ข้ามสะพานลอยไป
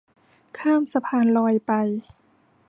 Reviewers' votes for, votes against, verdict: 2, 0, accepted